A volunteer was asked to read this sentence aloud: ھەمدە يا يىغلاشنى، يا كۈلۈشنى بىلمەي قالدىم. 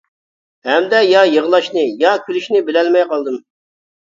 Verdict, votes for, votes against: rejected, 1, 2